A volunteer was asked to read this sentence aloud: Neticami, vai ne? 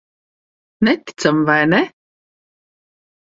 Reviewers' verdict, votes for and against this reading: accepted, 2, 0